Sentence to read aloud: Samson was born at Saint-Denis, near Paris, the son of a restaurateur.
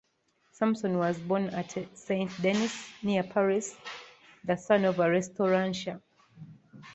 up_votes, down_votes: 1, 2